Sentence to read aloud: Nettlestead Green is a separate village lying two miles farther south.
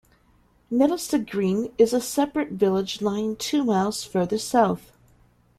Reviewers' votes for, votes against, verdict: 1, 2, rejected